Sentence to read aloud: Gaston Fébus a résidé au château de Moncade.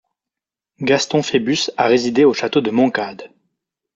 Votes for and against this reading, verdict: 2, 0, accepted